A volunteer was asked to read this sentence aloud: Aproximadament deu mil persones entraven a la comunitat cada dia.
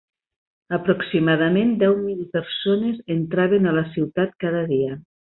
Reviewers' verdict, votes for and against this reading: rejected, 0, 2